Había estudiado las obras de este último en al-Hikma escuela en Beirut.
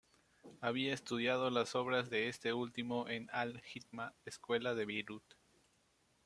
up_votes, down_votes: 1, 2